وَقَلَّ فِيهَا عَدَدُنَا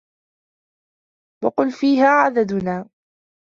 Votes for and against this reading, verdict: 2, 0, accepted